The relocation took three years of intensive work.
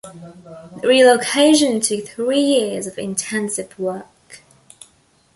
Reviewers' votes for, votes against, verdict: 2, 0, accepted